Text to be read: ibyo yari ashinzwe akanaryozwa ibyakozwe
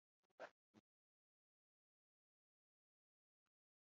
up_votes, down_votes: 0, 2